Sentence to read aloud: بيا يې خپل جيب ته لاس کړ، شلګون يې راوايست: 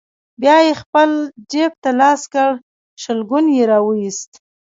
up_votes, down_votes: 0, 2